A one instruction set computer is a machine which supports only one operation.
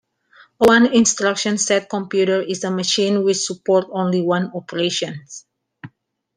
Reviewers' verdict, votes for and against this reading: rejected, 0, 2